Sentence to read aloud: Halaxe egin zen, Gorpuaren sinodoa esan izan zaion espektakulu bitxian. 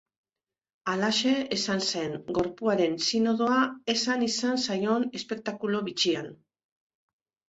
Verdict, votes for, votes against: rejected, 0, 2